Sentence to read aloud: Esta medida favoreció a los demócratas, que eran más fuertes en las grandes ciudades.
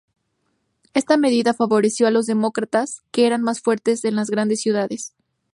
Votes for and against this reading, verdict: 2, 0, accepted